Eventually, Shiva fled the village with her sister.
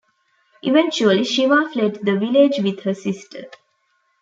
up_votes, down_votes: 2, 0